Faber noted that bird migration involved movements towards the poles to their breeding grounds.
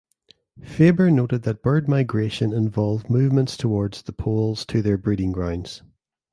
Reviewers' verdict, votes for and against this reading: accepted, 2, 0